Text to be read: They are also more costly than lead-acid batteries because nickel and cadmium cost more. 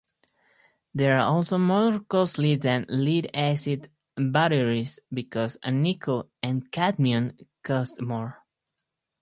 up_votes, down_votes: 2, 4